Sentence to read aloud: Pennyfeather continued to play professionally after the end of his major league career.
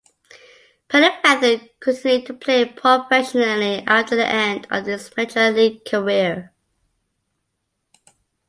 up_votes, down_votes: 1, 2